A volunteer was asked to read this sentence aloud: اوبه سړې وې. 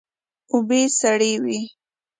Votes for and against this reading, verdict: 2, 0, accepted